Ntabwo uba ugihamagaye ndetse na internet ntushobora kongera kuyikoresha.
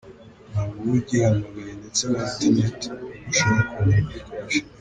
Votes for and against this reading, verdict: 1, 2, rejected